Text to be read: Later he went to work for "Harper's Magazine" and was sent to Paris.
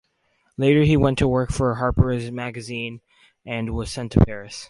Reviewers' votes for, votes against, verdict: 4, 0, accepted